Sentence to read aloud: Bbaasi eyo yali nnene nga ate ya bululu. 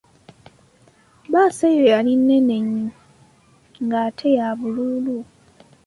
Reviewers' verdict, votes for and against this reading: rejected, 0, 2